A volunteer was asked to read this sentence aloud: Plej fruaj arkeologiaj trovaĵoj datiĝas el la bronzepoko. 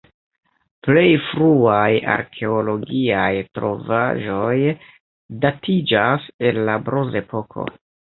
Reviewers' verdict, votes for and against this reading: accepted, 2, 1